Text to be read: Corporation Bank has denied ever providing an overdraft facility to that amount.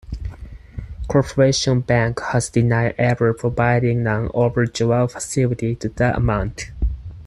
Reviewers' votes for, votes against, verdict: 2, 4, rejected